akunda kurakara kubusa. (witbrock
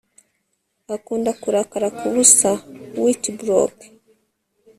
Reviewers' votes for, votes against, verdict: 1, 2, rejected